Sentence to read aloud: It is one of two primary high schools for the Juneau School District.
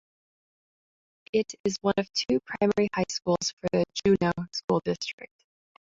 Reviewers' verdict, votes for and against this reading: accepted, 2, 0